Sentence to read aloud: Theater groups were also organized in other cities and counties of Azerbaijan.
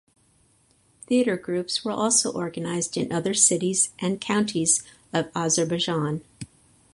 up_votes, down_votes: 2, 2